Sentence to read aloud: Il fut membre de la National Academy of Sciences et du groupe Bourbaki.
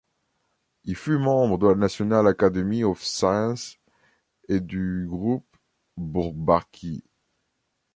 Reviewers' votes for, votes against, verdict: 0, 2, rejected